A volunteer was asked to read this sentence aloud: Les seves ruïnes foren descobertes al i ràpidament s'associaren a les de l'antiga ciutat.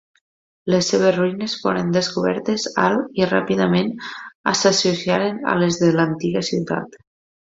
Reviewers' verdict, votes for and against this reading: rejected, 0, 2